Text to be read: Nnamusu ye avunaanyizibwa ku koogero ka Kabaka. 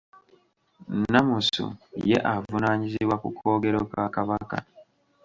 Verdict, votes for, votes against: accepted, 2, 1